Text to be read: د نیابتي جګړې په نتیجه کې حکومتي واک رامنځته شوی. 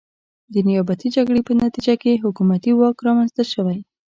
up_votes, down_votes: 2, 0